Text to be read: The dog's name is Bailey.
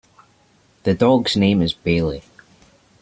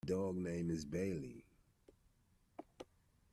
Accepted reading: first